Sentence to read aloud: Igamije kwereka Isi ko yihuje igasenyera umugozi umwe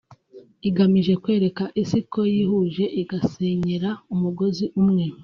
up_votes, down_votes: 2, 0